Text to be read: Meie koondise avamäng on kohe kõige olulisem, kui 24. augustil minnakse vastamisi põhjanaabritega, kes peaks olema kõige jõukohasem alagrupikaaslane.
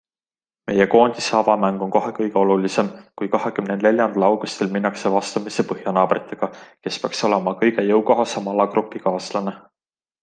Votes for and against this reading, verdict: 0, 2, rejected